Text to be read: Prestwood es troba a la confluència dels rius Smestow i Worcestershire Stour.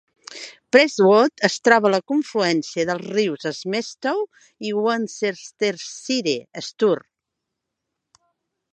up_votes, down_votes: 0, 2